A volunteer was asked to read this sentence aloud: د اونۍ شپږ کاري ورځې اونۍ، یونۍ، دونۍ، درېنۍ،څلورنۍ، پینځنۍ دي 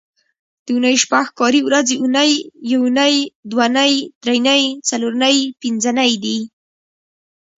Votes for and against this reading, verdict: 1, 2, rejected